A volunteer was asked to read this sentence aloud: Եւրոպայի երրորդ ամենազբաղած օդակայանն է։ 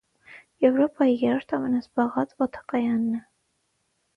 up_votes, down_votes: 6, 0